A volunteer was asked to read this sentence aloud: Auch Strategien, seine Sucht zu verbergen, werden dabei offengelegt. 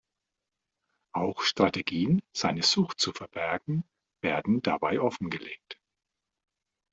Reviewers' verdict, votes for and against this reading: accepted, 2, 0